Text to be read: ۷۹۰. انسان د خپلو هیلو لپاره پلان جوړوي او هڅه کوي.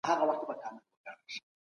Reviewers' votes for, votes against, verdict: 0, 2, rejected